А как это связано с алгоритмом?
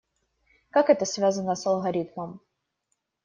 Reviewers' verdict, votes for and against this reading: rejected, 0, 2